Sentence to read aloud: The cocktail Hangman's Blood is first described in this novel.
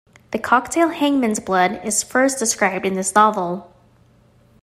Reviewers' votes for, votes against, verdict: 2, 0, accepted